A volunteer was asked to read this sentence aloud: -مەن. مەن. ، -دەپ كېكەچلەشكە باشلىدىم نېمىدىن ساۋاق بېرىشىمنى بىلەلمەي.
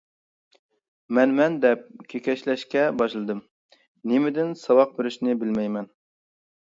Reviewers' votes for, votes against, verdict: 0, 2, rejected